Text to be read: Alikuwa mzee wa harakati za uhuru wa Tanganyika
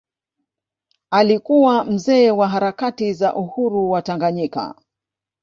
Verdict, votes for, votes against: rejected, 1, 2